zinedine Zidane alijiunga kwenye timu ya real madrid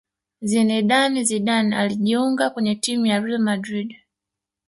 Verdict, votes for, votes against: rejected, 1, 2